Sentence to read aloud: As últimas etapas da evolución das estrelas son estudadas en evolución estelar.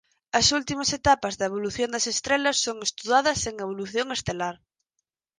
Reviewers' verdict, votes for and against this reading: accepted, 4, 0